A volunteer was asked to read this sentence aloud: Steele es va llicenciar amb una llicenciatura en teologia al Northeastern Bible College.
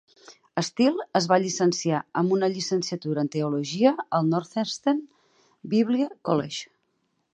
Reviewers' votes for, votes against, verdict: 4, 2, accepted